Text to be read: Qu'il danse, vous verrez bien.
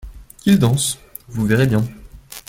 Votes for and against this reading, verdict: 2, 0, accepted